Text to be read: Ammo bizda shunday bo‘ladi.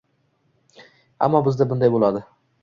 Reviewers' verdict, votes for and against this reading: rejected, 1, 2